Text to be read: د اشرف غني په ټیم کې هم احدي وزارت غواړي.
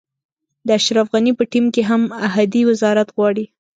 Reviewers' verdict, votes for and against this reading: accepted, 3, 0